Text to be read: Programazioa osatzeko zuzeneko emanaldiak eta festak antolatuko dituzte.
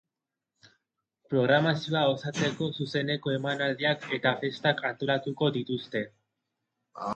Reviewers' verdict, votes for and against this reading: rejected, 0, 2